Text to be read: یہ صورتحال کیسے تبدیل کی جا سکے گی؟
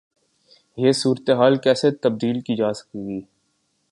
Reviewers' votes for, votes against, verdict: 2, 0, accepted